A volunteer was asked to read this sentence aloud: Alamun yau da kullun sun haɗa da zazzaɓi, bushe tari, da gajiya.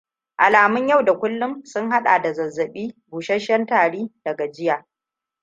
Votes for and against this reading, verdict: 1, 2, rejected